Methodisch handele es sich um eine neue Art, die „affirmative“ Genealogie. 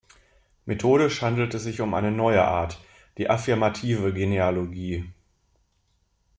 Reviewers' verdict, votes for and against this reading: rejected, 0, 2